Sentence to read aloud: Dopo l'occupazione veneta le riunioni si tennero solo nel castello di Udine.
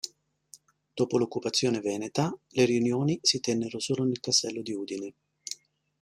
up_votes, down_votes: 2, 1